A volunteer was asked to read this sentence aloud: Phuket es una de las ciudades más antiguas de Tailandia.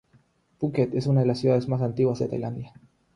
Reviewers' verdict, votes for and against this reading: accepted, 6, 0